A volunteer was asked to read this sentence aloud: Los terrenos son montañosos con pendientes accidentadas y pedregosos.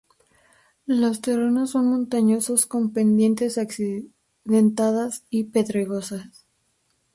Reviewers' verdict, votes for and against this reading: rejected, 0, 6